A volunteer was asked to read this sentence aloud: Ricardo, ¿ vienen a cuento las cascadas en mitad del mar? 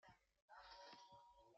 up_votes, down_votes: 0, 2